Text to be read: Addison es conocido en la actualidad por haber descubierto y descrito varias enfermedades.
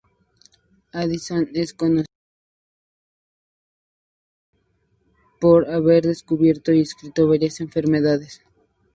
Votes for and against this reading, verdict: 0, 4, rejected